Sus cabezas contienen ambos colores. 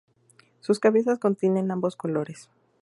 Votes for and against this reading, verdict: 2, 0, accepted